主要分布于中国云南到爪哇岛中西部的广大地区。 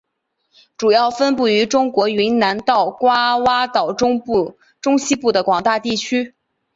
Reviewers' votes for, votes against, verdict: 2, 3, rejected